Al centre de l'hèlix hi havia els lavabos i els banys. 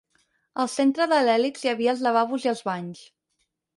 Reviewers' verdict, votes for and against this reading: accepted, 6, 0